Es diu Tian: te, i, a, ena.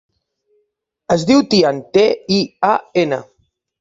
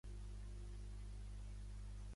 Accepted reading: first